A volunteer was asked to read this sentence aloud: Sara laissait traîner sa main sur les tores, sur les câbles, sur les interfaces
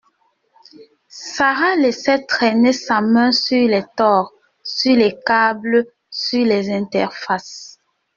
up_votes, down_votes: 0, 2